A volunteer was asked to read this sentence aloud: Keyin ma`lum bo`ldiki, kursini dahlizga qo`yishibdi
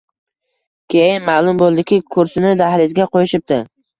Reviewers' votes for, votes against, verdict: 2, 0, accepted